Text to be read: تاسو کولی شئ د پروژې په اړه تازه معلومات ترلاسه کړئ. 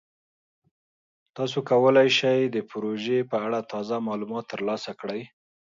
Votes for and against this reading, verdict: 4, 0, accepted